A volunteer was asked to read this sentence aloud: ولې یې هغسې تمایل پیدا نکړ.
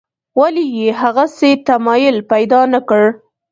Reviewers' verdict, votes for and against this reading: accepted, 2, 0